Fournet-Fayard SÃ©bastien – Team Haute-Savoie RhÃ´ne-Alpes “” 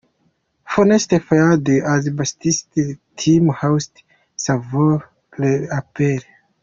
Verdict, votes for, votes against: rejected, 0, 2